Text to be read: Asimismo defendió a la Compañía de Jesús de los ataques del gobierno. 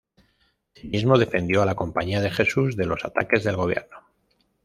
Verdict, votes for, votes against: rejected, 0, 2